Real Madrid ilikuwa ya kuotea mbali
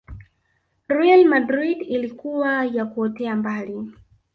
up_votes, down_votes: 1, 2